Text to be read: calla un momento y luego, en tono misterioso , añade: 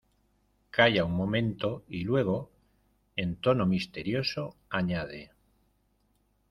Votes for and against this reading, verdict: 2, 0, accepted